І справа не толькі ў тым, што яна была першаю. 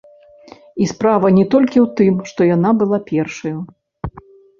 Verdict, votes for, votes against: rejected, 0, 2